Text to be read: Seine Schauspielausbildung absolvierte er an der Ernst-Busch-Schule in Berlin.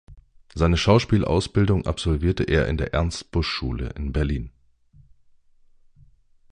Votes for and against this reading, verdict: 0, 2, rejected